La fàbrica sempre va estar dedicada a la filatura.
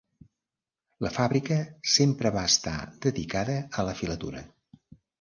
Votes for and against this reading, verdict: 3, 0, accepted